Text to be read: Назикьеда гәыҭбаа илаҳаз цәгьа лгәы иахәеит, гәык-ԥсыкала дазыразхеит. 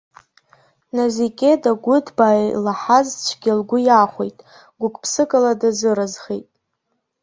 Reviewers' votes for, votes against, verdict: 1, 2, rejected